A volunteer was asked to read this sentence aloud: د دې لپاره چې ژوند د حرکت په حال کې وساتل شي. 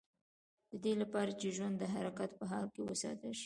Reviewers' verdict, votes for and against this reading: accepted, 2, 0